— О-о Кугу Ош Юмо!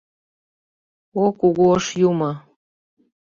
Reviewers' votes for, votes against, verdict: 2, 0, accepted